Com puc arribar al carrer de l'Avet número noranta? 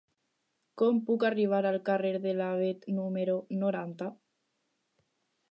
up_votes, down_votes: 4, 0